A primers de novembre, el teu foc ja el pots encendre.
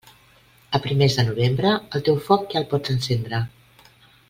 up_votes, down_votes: 3, 0